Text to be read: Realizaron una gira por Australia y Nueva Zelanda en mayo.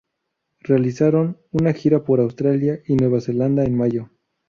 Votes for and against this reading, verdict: 2, 0, accepted